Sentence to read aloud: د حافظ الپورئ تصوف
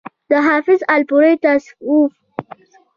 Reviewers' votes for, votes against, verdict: 2, 0, accepted